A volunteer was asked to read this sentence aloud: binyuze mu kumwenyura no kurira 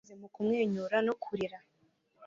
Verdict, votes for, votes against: rejected, 1, 2